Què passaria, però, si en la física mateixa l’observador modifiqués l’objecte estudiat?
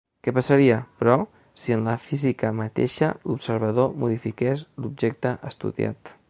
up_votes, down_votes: 2, 1